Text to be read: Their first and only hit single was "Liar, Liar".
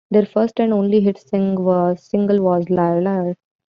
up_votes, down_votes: 1, 2